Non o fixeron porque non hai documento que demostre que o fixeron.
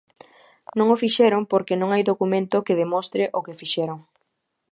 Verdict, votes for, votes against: rejected, 1, 2